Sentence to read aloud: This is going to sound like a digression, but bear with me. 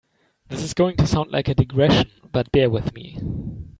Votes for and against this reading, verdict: 2, 0, accepted